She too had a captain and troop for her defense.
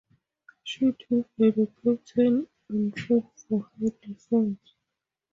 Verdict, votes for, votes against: accepted, 4, 0